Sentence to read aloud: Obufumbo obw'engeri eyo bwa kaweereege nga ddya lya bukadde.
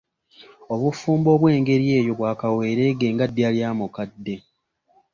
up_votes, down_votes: 1, 2